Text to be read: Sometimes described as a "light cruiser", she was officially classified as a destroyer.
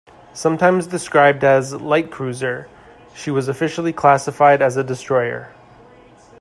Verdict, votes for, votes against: accepted, 2, 1